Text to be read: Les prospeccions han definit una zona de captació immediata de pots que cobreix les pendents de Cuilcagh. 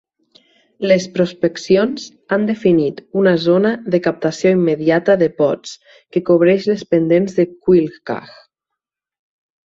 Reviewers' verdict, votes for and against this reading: accepted, 4, 0